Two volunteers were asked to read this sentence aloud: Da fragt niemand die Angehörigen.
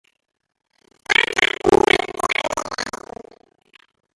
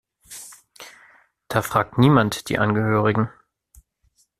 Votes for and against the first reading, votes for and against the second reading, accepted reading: 0, 2, 2, 0, second